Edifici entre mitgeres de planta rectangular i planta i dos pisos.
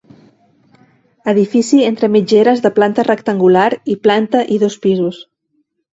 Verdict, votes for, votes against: accepted, 2, 0